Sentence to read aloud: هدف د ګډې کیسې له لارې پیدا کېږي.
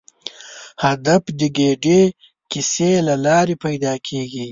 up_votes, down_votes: 1, 2